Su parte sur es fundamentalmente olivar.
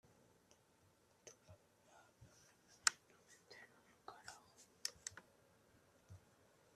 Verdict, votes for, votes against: rejected, 0, 2